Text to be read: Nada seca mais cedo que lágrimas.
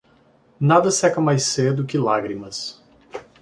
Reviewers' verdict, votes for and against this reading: accepted, 2, 0